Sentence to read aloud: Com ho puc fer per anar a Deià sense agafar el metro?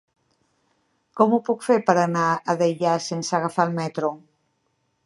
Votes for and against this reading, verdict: 3, 0, accepted